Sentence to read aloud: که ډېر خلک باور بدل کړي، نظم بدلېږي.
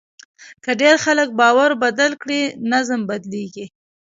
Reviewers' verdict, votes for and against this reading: accepted, 2, 0